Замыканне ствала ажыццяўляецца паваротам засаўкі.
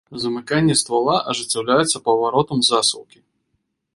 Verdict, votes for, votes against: accepted, 3, 0